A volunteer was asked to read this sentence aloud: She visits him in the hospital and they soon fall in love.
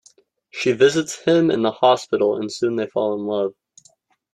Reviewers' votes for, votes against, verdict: 1, 2, rejected